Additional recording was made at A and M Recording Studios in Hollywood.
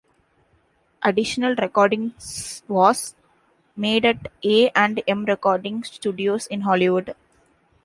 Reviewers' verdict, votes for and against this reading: rejected, 0, 2